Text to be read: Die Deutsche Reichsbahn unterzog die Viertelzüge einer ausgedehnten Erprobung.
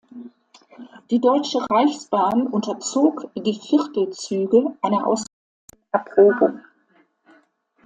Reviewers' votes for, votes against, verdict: 0, 2, rejected